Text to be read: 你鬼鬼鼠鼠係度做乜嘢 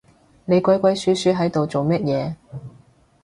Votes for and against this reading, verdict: 0, 2, rejected